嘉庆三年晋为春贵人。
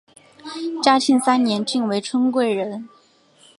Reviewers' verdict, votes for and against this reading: accepted, 2, 0